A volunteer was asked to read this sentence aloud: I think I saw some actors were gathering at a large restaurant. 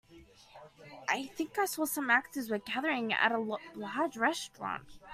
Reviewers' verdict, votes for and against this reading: rejected, 1, 2